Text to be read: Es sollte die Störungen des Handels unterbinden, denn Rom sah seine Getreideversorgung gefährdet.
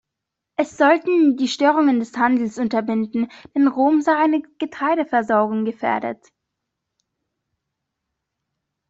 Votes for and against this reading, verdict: 0, 2, rejected